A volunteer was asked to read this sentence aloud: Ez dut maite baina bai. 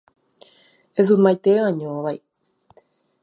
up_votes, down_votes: 1, 2